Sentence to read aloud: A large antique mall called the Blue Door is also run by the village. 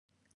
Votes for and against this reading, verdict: 0, 2, rejected